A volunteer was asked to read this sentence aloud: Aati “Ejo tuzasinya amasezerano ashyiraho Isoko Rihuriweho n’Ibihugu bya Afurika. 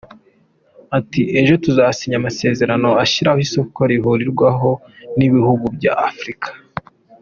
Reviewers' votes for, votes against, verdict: 2, 1, accepted